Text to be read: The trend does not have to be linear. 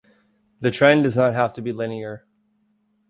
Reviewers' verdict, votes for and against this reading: accepted, 2, 0